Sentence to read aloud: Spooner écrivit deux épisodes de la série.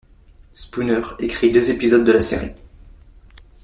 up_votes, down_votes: 0, 2